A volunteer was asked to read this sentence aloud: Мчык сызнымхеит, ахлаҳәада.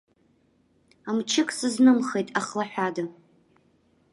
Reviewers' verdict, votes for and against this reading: accepted, 2, 0